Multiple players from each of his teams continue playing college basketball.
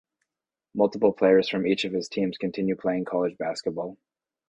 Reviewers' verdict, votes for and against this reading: accepted, 2, 0